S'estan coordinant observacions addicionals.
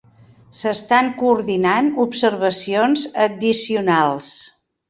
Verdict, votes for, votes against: accepted, 3, 0